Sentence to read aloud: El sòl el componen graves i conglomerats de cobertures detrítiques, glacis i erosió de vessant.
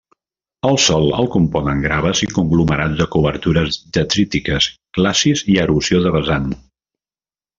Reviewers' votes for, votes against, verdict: 0, 2, rejected